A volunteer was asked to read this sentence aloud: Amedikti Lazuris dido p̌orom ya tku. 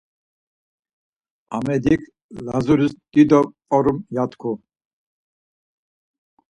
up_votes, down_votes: 2, 4